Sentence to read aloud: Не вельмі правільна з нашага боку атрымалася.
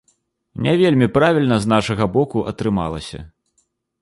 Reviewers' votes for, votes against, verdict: 2, 0, accepted